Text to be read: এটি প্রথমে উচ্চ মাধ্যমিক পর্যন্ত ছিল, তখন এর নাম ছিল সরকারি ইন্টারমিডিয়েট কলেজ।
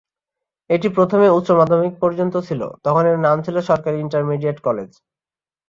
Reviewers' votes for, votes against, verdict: 2, 0, accepted